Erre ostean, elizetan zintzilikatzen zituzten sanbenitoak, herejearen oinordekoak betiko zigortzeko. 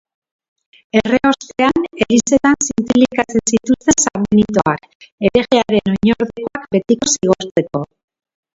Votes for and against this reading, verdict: 0, 2, rejected